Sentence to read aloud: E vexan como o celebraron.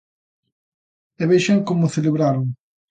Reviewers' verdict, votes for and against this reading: accepted, 2, 0